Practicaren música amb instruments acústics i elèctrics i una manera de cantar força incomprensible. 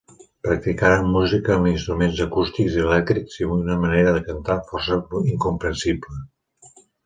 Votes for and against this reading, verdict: 1, 2, rejected